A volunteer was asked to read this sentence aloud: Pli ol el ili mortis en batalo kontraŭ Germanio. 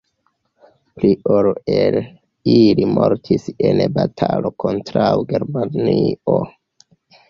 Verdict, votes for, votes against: accepted, 2, 0